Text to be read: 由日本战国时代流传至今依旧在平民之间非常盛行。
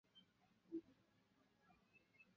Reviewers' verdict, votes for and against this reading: rejected, 0, 2